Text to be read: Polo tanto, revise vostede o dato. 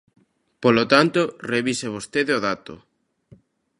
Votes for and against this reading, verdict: 2, 0, accepted